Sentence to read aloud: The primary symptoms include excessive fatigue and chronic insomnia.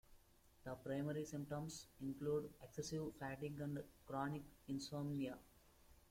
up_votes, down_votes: 2, 0